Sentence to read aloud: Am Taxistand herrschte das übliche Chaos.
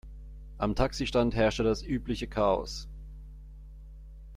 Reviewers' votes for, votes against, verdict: 2, 0, accepted